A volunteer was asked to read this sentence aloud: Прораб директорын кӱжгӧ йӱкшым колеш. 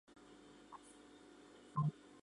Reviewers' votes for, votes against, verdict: 0, 2, rejected